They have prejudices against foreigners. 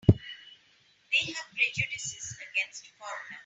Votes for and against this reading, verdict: 1, 2, rejected